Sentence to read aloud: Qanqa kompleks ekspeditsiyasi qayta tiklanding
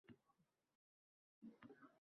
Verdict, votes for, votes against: rejected, 0, 2